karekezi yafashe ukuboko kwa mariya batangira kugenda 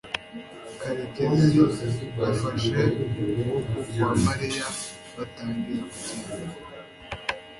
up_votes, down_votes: 1, 2